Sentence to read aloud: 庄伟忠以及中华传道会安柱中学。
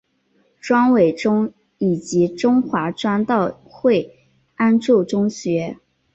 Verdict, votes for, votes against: accepted, 2, 0